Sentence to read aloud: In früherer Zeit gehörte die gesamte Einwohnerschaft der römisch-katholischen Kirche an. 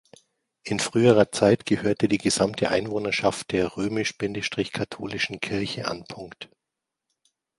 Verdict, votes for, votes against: rejected, 1, 2